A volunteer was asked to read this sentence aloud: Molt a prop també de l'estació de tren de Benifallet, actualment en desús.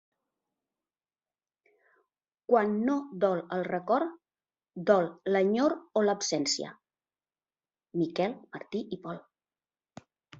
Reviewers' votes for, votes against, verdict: 0, 2, rejected